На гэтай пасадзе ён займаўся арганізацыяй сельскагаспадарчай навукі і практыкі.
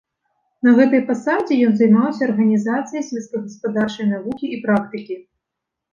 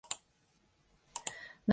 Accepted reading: first